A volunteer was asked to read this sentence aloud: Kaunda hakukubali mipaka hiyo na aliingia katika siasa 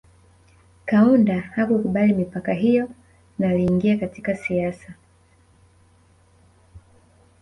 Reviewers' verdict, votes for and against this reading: rejected, 1, 2